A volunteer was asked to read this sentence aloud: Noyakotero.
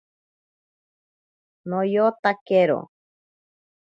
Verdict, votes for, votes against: rejected, 1, 2